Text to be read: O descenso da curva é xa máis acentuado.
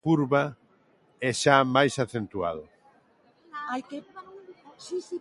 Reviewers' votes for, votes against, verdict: 0, 3, rejected